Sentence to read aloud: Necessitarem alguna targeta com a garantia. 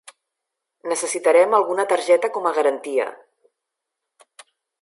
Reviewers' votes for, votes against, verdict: 3, 0, accepted